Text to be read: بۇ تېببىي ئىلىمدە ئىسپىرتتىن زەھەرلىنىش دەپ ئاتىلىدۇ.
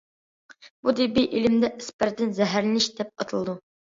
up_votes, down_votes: 1, 2